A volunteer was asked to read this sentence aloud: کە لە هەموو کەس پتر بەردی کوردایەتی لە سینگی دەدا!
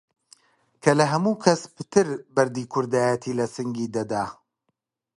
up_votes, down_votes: 2, 0